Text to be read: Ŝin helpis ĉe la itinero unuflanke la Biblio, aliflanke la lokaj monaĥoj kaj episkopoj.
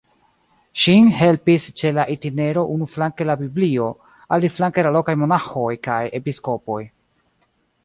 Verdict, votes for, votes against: rejected, 1, 2